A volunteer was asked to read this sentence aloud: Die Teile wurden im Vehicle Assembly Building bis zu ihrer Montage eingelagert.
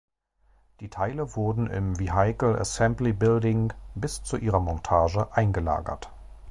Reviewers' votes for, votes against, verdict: 2, 3, rejected